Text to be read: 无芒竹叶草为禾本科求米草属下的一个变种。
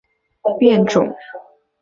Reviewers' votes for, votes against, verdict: 0, 2, rejected